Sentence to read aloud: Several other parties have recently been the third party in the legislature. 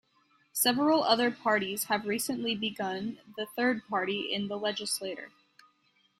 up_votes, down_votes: 0, 2